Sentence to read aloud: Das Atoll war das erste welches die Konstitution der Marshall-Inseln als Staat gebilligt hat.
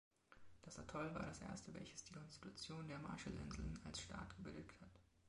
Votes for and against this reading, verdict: 2, 0, accepted